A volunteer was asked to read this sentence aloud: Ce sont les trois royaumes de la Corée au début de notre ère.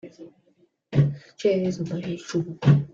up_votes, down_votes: 0, 2